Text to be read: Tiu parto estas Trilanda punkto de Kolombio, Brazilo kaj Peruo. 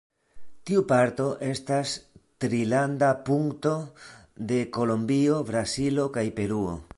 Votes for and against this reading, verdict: 2, 0, accepted